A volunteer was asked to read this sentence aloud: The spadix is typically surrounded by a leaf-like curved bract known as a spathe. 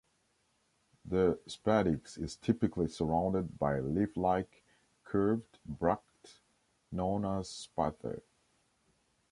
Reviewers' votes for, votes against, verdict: 0, 2, rejected